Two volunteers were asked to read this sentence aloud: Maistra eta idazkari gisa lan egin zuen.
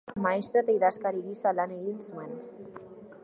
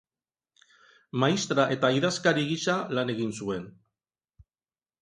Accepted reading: second